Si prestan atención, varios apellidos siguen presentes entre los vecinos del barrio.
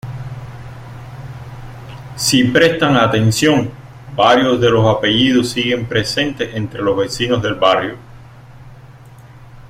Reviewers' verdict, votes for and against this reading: rejected, 0, 2